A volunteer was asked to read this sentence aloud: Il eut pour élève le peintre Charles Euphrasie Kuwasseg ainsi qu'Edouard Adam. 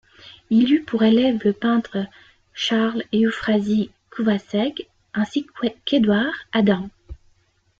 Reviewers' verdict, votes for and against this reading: rejected, 1, 2